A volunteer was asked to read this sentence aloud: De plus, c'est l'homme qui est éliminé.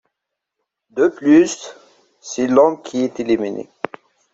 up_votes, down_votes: 2, 0